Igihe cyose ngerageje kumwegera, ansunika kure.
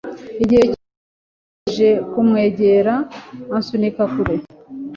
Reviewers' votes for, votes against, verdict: 1, 2, rejected